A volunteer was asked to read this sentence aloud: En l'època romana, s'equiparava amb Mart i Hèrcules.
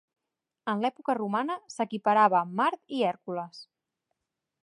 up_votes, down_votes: 1, 2